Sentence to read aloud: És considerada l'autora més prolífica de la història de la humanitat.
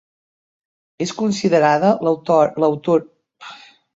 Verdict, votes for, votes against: rejected, 0, 3